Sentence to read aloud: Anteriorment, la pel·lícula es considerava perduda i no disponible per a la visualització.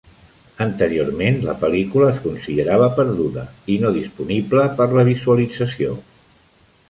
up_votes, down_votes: 0, 2